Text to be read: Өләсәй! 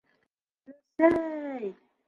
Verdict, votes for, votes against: rejected, 0, 2